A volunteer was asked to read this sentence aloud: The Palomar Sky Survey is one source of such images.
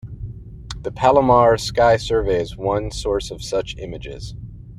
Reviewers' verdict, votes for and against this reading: accepted, 3, 0